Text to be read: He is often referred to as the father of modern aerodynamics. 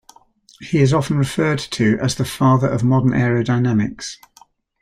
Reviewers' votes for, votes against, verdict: 2, 0, accepted